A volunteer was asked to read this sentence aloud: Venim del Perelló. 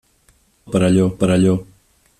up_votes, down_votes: 1, 3